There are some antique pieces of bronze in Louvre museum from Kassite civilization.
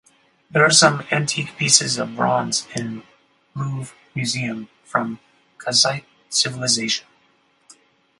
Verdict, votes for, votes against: rejected, 2, 4